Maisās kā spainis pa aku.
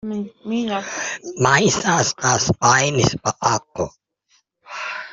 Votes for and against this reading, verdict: 0, 2, rejected